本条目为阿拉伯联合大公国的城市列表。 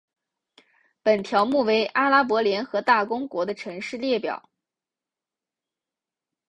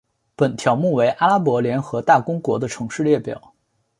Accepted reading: first